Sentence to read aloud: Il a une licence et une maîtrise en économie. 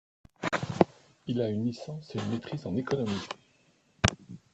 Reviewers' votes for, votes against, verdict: 1, 2, rejected